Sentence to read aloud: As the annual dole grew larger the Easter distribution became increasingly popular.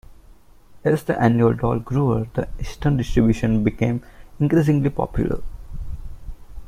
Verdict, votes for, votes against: rejected, 0, 2